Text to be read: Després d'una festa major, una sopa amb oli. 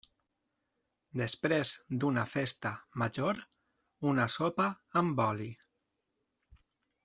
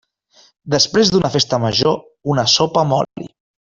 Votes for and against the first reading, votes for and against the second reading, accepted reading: 3, 0, 1, 2, first